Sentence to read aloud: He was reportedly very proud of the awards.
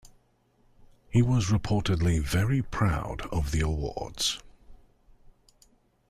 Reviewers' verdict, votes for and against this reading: accepted, 2, 0